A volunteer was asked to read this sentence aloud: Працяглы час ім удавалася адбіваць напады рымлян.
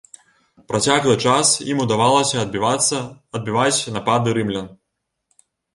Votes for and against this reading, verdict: 0, 3, rejected